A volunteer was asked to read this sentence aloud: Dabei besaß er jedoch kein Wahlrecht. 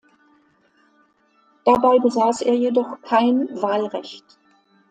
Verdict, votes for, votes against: accepted, 2, 0